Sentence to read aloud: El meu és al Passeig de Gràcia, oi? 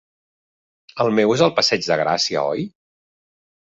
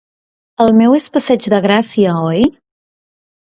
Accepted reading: first